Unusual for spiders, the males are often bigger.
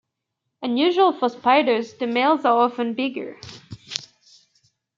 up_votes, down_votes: 3, 1